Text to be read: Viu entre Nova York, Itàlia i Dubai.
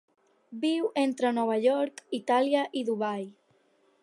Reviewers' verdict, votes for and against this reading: accepted, 6, 0